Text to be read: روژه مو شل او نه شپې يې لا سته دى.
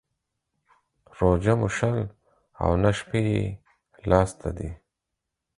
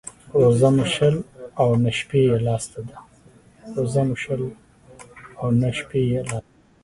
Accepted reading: first